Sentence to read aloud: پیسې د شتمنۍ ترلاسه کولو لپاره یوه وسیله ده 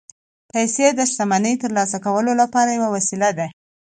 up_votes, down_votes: 2, 0